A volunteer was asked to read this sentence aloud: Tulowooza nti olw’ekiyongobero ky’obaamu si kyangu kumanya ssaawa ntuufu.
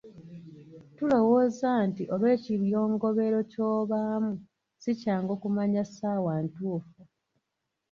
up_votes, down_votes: 1, 2